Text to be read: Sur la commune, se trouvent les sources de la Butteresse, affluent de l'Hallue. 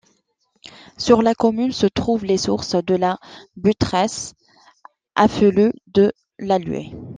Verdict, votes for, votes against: accepted, 2, 0